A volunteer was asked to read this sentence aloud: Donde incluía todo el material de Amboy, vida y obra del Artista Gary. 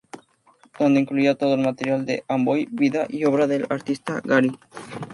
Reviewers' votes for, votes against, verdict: 2, 0, accepted